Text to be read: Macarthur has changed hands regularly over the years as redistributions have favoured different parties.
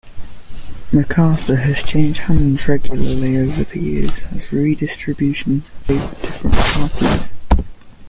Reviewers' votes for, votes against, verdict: 1, 2, rejected